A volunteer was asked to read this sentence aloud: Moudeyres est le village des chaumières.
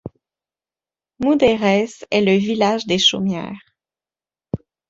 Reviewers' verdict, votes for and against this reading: rejected, 0, 2